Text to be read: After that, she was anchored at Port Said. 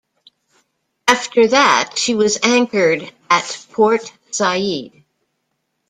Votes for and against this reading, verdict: 2, 0, accepted